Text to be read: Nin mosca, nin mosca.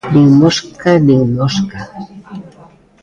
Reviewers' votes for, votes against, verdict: 0, 2, rejected